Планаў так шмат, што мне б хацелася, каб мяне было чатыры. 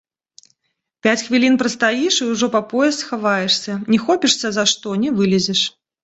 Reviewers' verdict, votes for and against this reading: rejected, 0, 2